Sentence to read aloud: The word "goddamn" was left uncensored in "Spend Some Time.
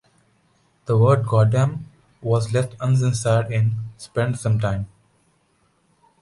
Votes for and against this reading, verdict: 3, 0, accepted